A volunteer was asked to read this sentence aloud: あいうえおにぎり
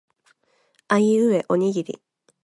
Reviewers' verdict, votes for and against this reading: accepted, 2, 0